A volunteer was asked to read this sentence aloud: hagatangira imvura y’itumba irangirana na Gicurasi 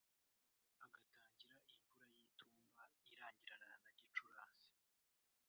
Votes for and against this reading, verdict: 0, 2, rejected